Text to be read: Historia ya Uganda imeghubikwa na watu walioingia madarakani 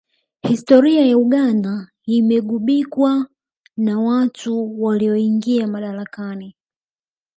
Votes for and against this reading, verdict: 0, 2, rejected